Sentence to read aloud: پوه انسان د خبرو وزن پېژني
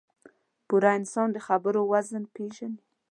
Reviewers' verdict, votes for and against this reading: rejected, 0, 2